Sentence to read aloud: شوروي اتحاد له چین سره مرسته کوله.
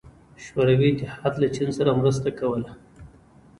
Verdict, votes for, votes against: accepted, 2, 1